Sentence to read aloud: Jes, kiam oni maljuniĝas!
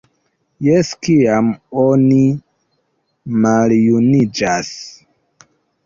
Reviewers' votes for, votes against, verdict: 3, 0, accepted